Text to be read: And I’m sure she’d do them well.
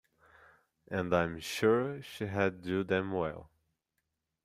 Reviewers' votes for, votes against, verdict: 0, 2, rejected